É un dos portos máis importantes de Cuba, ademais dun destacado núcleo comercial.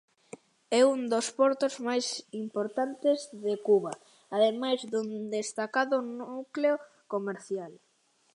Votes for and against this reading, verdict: 2, 0, accepted